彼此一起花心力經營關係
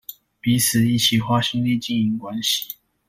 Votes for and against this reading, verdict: 2, 0, accepted